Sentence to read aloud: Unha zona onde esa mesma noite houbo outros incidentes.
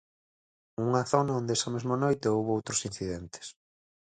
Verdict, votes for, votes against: accepted, 4, 0